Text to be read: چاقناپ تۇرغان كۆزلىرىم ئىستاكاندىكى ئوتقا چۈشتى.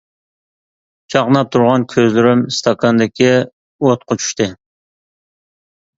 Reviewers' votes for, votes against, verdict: 2, 0, accepted